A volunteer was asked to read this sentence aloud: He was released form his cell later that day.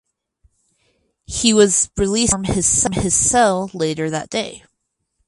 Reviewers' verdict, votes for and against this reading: rejected, 0, 4